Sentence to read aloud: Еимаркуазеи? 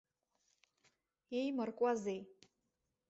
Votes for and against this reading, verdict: 1, 2, rejected